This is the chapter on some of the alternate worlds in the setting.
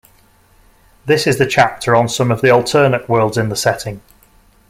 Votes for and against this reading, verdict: 2, 0, accepted